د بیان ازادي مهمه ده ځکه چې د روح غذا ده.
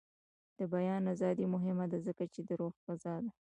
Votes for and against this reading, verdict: 2, 0, accepted